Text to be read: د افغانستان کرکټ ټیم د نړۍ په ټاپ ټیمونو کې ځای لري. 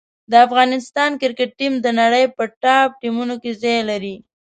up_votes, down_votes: 5, 0